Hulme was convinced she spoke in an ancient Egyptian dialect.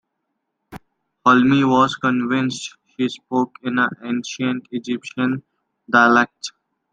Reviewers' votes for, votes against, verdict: 2, 1, accepted